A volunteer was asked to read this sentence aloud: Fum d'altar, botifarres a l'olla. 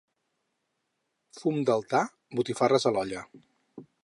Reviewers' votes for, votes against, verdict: 4, 0, accepted